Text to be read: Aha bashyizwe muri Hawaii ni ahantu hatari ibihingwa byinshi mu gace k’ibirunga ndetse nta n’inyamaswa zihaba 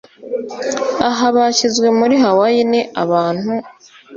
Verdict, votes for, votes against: rejected, 1, 2